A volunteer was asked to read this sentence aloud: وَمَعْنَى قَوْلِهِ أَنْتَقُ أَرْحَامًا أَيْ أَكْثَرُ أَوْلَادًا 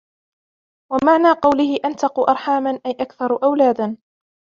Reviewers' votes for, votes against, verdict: 1, 2, rejected